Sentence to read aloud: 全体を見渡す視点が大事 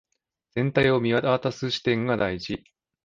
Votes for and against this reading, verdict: 0, 2, rejected